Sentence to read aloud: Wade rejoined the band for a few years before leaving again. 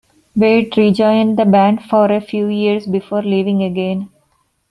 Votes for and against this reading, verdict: 2, 0, accepted